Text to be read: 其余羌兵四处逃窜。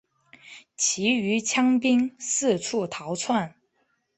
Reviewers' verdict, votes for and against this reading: accepted, 2, 0